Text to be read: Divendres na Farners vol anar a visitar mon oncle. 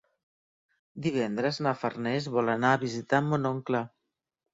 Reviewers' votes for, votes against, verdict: 3, 0, accepted